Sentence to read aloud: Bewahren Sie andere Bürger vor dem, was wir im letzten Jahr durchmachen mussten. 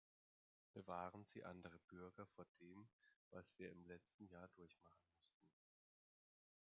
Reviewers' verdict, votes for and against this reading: rejected, 1, 2